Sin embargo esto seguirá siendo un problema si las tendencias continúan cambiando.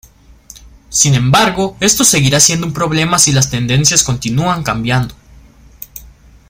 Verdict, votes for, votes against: accepted, 2, 0